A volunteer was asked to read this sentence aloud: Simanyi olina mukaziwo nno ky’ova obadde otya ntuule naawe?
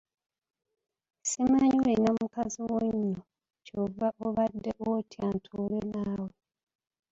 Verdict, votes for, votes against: rejected, 0, 2